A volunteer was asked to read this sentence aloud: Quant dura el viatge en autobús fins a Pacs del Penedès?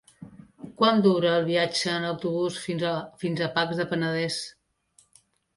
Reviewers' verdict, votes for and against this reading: rejected, 0, 2